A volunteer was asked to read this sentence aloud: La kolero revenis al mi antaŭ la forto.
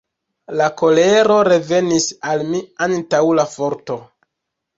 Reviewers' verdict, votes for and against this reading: rejected, 1, 2